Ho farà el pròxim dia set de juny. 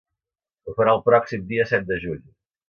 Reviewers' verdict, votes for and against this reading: accepted, 2, 0